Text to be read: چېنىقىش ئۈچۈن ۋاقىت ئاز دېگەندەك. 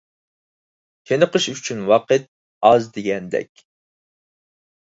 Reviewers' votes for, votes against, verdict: 4, 0, accepted